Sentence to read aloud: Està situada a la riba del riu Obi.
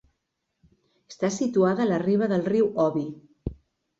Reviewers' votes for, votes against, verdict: 2, 0, accepted